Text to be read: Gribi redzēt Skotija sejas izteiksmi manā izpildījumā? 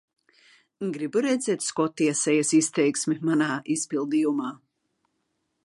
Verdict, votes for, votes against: rejected, 0, 2